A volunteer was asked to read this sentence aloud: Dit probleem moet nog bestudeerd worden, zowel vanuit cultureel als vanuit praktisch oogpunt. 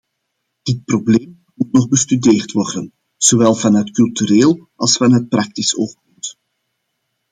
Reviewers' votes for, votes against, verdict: 0, 2, rejected